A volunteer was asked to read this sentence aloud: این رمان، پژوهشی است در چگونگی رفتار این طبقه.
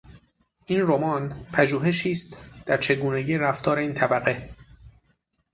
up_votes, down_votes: 6, 0